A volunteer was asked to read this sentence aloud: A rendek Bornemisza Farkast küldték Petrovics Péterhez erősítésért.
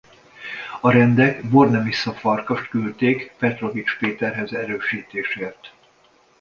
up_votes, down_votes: 2, 0